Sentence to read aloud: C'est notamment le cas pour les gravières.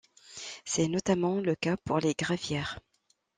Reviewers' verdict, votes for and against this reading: accepted, 2, 0